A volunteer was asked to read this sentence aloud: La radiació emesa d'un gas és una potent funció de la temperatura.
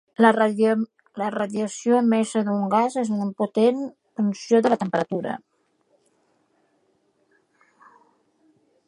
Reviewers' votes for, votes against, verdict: 1, 2, rejected